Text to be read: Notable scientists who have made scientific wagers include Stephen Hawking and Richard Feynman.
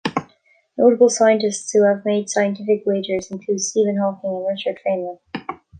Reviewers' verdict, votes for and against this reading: accepted, 2, 0